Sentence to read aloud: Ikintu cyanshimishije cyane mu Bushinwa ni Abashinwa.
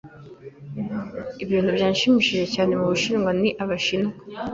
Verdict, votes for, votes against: rejected, 0, 2